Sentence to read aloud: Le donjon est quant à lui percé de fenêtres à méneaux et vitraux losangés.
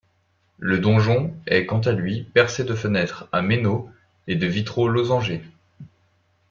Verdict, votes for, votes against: rejected, 1, 2